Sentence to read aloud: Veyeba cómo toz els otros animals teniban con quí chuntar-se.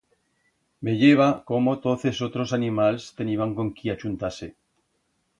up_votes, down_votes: 1, 2